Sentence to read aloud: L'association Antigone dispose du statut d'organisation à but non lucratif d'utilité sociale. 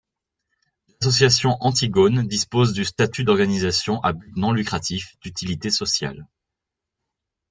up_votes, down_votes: 2, 1